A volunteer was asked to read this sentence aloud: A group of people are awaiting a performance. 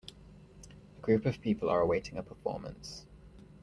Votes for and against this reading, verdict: 3, 0, accepted